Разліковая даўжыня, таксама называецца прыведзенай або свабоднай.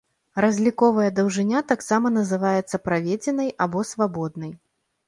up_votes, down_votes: 1, 2